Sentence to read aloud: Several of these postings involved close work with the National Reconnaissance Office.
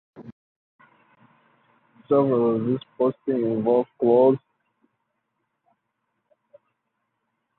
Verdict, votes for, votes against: rejected, 0, 4